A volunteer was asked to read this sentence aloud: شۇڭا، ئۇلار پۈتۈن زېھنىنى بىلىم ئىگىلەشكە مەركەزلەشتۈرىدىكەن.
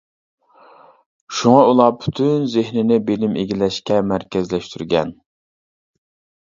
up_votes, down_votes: 0, 2